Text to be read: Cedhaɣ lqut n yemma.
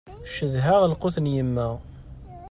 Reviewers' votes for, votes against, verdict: 2, 0, accepted